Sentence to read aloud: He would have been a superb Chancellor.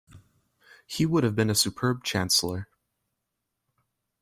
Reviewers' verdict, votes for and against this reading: accepted, 2, 0